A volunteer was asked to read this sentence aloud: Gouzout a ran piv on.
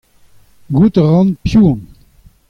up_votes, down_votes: 2, 0